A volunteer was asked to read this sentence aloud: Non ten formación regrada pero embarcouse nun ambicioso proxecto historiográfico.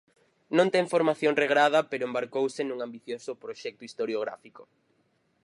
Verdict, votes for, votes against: accepted, 4, 0